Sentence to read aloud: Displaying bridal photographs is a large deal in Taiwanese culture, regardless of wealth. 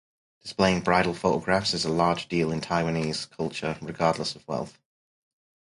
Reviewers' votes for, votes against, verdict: 4, 0, accepted